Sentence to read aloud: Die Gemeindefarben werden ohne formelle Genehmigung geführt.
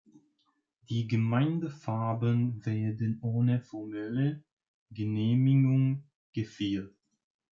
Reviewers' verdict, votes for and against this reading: rejected, 1, 2